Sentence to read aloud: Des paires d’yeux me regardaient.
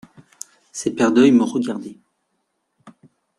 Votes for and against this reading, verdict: 0, 2, rejected